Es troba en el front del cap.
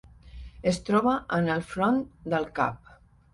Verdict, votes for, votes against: accepted, 3, 0